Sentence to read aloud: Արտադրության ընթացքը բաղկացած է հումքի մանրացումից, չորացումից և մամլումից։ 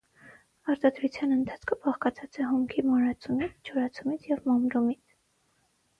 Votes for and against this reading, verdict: 3, 3, rejected